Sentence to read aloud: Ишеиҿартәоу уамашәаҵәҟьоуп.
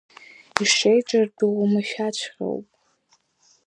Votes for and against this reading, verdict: 2, 0, accepted